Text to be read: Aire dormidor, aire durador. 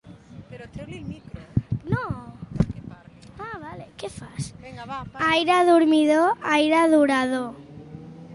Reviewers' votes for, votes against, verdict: 0, 2, rejected